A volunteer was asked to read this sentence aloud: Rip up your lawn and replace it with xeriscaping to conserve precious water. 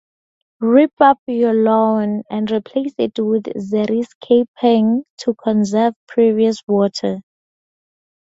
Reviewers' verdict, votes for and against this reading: rejected, 2, 2